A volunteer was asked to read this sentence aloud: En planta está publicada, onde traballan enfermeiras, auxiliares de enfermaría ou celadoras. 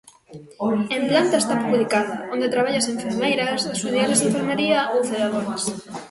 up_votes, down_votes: 0, 2